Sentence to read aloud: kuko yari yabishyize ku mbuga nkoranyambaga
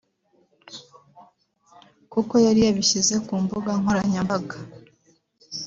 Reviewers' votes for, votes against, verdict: 3, 0, accepted